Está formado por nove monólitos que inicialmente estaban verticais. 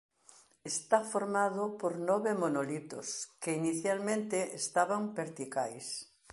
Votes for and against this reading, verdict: 2, 3, rejected